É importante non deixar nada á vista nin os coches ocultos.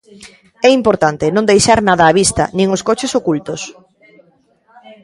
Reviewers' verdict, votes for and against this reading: rejected, 0, 2